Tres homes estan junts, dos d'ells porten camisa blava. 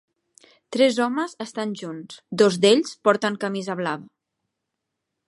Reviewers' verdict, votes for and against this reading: rejected, 0, 2